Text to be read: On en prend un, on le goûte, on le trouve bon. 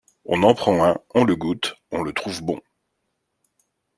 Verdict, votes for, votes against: accepted, 2, 0